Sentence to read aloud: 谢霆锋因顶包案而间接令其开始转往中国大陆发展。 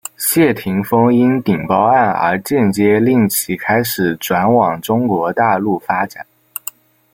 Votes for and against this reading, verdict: 2, 1, accepted